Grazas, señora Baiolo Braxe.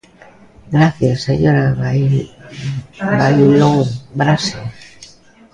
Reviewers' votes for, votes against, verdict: 0, 3, rejected